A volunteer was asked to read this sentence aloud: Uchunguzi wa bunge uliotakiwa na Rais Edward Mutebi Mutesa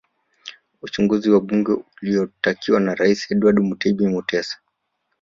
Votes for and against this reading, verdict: 3, 1, accepted